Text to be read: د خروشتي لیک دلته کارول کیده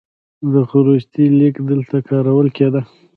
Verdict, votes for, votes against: rejected, 1, 2